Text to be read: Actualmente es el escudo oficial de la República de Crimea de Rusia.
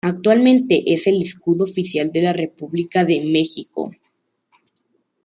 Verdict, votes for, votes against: rejected, 1, 2